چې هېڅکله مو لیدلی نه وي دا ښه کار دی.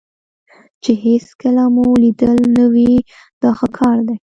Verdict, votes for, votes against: accepted, 2, 0